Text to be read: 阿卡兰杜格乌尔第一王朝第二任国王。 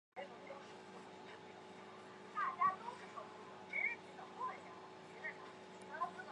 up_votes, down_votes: 0, 2